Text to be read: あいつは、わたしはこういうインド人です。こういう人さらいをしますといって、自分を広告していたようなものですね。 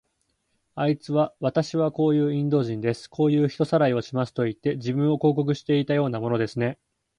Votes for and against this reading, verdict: 4, 0, accepted